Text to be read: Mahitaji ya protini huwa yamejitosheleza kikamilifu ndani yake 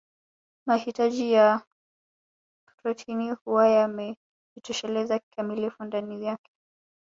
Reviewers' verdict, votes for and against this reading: rejected, 1, 2